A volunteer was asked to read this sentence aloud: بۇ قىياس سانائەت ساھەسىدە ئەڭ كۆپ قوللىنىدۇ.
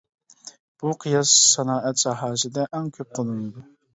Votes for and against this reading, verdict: 2, 0, accepted